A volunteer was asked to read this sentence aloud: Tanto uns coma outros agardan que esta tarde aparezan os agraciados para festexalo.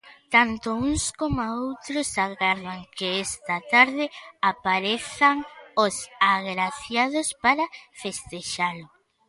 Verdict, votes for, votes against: accepted, 2, 0